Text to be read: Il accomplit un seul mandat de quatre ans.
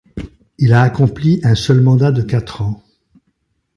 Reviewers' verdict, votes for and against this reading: rejected, 0, 2